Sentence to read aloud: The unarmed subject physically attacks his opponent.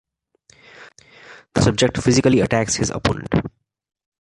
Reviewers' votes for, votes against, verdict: 0, 2, rejected